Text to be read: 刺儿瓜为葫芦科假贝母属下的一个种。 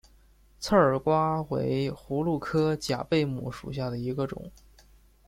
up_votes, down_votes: 1, 2